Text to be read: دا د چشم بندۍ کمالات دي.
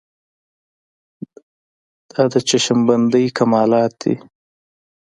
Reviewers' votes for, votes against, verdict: 2, 1, accepted